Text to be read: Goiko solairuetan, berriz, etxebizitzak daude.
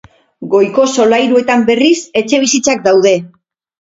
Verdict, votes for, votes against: accepted, 4, 0